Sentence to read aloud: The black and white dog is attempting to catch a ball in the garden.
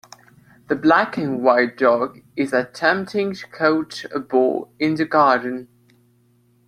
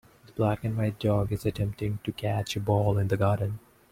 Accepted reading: second